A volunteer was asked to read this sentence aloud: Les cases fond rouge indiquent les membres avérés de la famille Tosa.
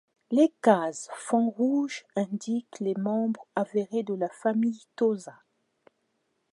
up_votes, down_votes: 2, 0